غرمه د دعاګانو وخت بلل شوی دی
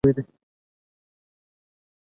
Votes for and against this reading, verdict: 0, 2, rejected